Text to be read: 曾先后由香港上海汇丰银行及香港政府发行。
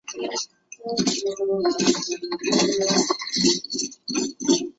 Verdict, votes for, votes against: rejected, 1, 3